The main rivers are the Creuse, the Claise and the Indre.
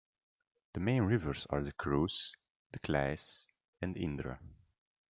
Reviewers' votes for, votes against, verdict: 3, 2, accepted